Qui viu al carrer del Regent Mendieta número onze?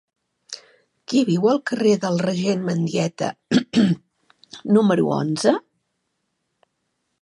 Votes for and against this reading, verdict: 1, 2, rejected